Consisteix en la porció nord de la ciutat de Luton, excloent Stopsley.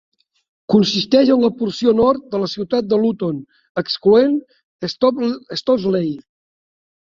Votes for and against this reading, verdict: 1, 2, rejected